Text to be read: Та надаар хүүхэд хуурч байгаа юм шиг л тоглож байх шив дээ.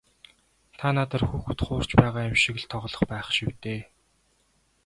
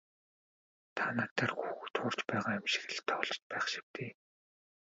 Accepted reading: first